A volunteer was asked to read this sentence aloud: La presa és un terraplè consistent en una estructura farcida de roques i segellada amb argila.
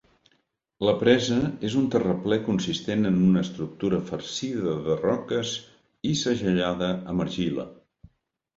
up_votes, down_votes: 2, 0